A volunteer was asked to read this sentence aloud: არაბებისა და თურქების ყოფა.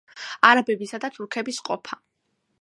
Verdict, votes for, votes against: accepted, 2, 0